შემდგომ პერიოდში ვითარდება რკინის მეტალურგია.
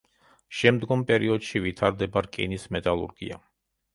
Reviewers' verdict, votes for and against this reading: accepted, 2, 0